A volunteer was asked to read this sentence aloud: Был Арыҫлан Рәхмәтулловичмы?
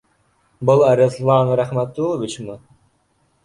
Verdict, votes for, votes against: accepted, 2, 0